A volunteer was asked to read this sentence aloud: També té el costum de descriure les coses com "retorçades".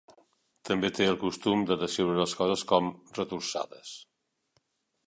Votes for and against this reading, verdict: 1, 2, rejected